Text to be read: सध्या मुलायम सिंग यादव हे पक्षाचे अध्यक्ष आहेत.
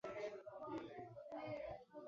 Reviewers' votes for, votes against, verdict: 0, 2, rejected